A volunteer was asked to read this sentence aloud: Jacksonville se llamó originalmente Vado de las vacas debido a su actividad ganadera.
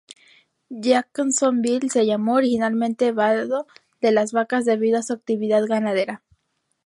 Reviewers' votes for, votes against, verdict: 2, 0, accepted